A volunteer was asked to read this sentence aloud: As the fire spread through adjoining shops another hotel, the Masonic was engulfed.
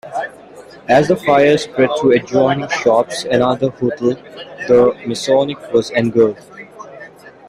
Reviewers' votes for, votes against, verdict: 3, 1, accepted